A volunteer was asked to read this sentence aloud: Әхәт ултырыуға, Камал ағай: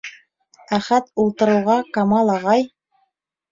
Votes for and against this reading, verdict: 2, 0, accepted